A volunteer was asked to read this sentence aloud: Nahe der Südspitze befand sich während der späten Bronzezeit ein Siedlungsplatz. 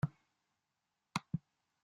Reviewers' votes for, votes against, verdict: 0, 2, rejected